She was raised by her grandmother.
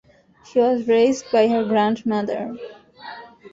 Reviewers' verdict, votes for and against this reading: accepted, 2, 0